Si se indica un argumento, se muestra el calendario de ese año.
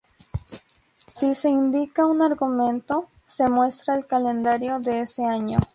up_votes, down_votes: 2, 0